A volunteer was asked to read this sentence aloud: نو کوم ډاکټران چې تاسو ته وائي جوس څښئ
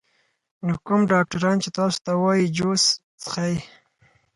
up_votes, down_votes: 4, 0